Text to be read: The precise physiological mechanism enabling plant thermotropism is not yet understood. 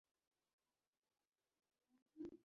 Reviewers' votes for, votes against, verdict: 0, 3, rejected